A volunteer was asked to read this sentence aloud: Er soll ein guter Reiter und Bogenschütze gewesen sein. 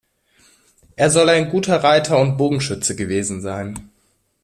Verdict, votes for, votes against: accepted, 2, 0